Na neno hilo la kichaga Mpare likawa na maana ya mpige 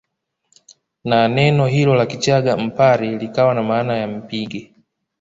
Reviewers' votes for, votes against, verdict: 3, 1, accepted